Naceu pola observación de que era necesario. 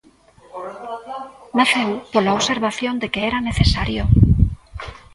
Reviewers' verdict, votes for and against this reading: rejected, 1, 2